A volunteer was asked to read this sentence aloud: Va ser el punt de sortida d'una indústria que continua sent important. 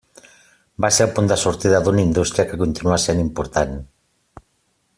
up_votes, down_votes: 6, 0